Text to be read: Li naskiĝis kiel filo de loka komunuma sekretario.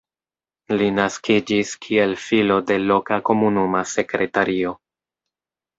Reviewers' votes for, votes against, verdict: 2, 0, accepted